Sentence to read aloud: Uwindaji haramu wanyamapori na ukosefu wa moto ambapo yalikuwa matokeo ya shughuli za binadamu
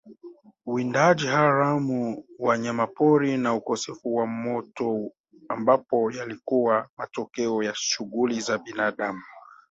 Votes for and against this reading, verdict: 1, 2, rejected